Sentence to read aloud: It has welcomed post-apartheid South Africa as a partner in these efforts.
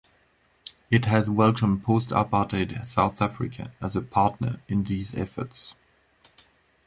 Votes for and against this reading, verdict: 2, 0, accepted